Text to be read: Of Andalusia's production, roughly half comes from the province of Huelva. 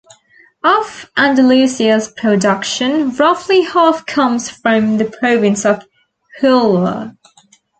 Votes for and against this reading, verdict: 1, 2, rejected